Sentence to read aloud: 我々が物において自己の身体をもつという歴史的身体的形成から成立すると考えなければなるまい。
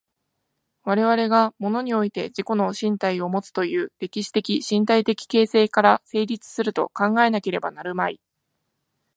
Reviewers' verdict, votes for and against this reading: accepted, 2, 0